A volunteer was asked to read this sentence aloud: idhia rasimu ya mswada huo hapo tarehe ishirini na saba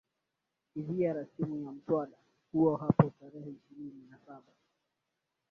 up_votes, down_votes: 2, 3